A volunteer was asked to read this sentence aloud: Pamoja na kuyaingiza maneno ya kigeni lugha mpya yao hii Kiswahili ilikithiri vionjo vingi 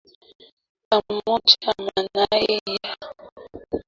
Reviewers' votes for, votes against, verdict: 0, 3, rejected